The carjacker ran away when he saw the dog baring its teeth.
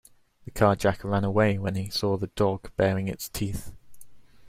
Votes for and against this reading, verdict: 2, 0, accepted